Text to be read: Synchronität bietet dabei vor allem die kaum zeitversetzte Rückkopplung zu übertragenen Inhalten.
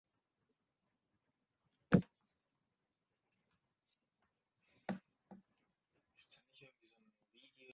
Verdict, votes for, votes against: rejected, 0, 2